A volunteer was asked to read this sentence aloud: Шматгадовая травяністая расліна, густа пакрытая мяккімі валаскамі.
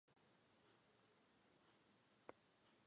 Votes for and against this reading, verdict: 1, 2, rejected